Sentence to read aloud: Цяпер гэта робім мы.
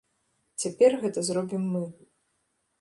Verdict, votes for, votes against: rejected, 0, 2